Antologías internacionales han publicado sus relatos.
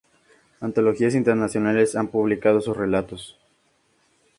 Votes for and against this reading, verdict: 2, 0, accepted